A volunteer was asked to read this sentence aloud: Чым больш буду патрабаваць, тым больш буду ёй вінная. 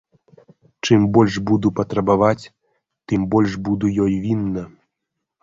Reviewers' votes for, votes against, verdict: 1, 2, rejected